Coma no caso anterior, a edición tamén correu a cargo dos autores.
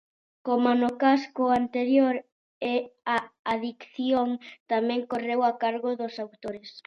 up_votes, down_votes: 0, 2